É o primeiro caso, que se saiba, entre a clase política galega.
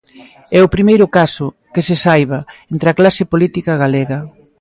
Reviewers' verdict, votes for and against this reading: rejected, 0, 2